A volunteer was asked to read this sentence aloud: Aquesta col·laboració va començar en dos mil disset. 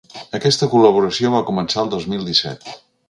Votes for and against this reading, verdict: 1, 2, rejected